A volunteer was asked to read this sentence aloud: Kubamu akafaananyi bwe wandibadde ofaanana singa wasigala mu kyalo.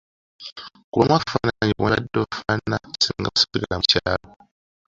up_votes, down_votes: 0, 2